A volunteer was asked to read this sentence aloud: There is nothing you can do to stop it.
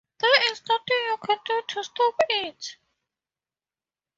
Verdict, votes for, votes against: rejected, 0, 4